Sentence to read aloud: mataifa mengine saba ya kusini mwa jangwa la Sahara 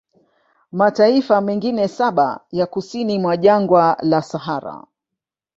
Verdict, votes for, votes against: rejected, 1, 2